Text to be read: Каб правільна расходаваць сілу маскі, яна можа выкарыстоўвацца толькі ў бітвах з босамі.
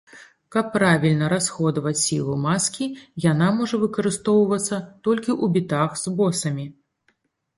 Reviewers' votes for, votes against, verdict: 0, 2, rejected